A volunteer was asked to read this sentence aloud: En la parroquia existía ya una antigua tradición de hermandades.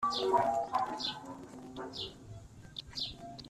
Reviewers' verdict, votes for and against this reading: rejected, 0, 2